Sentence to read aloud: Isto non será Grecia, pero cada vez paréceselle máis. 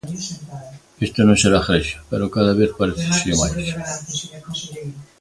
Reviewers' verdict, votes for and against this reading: accepted, 3, 1